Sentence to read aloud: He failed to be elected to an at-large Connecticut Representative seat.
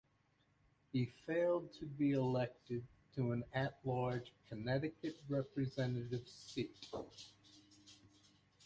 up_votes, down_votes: 2, 1